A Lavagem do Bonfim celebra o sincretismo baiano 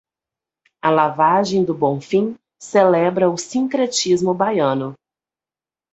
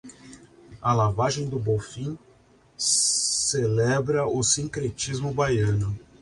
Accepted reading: first